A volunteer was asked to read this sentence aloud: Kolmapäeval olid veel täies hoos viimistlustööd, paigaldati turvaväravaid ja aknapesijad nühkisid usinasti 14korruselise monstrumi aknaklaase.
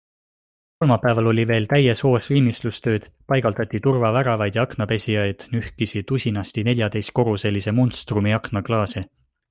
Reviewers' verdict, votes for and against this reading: rejected, 0, 2